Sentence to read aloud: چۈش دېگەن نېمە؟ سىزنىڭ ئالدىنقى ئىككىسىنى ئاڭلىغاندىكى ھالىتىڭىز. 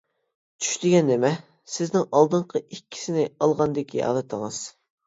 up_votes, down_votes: 0, 2